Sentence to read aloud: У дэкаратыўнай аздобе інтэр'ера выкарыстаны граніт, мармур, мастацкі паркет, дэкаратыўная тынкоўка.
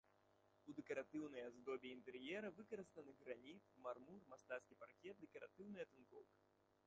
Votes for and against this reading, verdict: 0, 2, rejected